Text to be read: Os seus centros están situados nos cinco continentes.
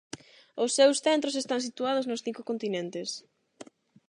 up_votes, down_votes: 8, 0